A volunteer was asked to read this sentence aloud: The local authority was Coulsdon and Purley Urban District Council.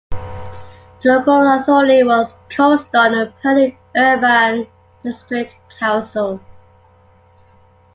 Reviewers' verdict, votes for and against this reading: rejected, 1, 2